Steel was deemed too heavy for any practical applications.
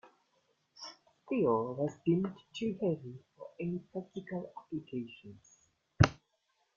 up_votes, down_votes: 1, 2